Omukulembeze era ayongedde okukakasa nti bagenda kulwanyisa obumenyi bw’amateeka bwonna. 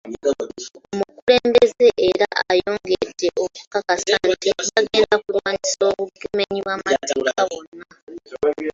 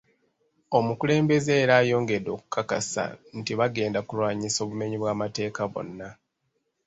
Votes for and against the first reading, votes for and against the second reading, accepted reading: 0, 2, 2, 0, second